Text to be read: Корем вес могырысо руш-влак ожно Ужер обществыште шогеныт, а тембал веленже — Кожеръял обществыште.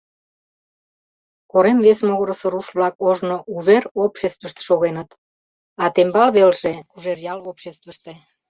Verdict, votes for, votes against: rejected, 1, 2